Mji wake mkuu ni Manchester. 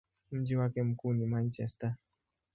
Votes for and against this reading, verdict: 2, 0, accepted